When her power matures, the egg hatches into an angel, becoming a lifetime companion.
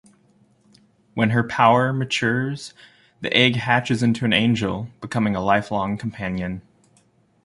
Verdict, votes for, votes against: rejected, 1, 2